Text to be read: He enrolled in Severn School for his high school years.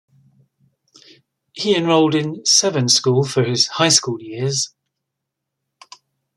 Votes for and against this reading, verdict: 2, 0, accepted